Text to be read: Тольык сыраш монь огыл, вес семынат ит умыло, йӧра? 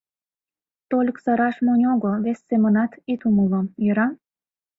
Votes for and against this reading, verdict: 2, 0, accepted